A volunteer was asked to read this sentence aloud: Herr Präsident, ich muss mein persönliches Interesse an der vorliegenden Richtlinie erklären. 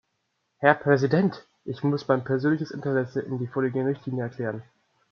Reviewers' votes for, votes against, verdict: 1, 2, rejected